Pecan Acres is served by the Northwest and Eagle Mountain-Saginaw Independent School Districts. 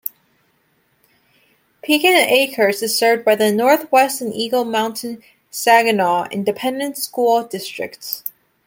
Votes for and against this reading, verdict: 2, 0, accepted